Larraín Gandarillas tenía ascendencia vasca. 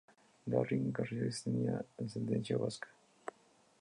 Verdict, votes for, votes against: rejected, 0, 2